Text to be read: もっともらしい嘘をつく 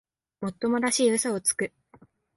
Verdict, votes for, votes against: accepted, 2, 0